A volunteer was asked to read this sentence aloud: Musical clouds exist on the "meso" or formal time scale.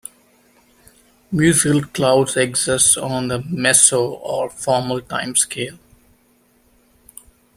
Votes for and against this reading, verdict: 1, 2, rejected